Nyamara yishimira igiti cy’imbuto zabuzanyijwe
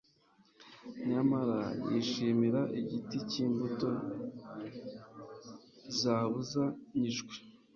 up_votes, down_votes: 3, 0